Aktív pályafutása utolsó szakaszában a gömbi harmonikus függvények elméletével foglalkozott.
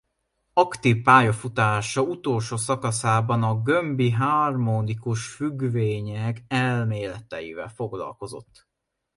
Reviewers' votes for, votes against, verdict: 0, 2, rejected